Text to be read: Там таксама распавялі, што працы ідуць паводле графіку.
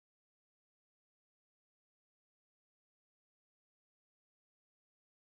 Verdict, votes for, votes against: rejected, 0, 3